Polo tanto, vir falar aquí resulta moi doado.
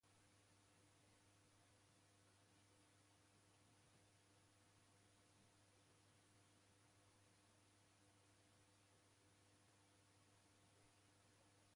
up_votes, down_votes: 0, 2